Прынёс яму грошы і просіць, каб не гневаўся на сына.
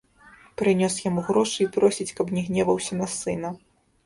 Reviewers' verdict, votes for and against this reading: rejected, 0, 2